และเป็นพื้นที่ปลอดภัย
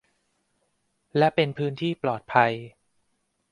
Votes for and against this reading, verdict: 2, 0, accepted